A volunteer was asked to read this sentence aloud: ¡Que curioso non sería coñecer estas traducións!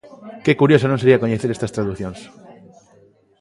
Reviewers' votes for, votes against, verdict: 2, 0, accepted